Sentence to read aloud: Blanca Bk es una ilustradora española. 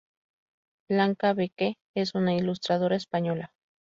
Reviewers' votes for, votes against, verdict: 0, 2, rejected